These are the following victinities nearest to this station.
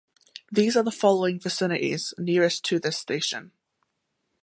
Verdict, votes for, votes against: accepted, 2, 0